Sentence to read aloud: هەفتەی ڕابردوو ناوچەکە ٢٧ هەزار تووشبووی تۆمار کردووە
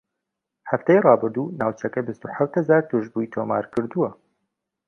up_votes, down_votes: 0, 2